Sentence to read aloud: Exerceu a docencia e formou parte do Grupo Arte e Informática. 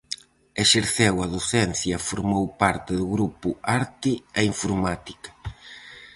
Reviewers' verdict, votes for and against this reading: accepted, 4, 0